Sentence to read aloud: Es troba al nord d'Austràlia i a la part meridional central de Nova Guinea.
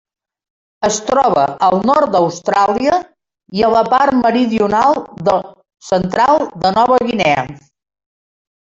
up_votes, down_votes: 0, 2